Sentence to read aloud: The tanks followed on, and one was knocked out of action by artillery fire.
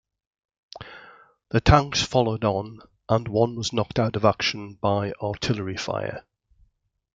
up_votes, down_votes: 2, 0